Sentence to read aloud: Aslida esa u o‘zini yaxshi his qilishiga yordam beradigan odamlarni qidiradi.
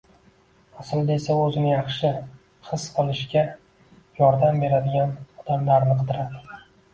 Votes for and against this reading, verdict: 2, 1, accepted